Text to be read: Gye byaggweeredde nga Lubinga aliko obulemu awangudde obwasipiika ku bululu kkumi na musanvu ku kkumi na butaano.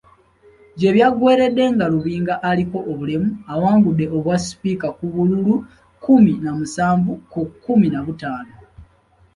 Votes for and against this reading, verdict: 2, 0, accepted